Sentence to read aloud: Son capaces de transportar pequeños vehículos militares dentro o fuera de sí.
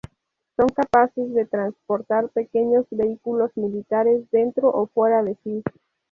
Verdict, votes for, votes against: accepted, 2, 0